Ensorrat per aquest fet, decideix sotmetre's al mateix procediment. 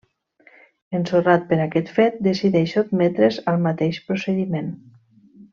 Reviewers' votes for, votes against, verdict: 2, 0, accepted